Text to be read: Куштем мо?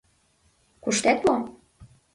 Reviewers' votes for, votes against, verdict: 1, 2, rejected